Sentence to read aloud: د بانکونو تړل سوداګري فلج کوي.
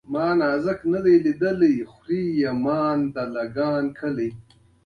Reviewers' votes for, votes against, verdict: 2, 0, accepted